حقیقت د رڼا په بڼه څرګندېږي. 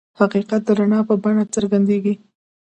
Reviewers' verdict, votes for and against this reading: rejected, 1, 2